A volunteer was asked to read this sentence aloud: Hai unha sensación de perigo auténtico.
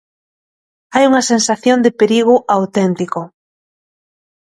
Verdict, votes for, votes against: accepted, 2, 0